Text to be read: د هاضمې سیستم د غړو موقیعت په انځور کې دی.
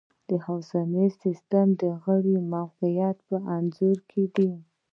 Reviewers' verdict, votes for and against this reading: rejected, 1, 2